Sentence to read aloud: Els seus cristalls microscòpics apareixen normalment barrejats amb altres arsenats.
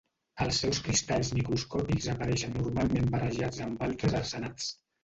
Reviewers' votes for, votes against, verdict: 1, 2, rejected